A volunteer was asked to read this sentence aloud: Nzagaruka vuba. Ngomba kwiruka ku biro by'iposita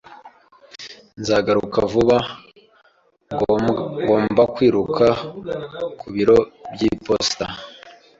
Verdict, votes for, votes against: rejected, 1, 2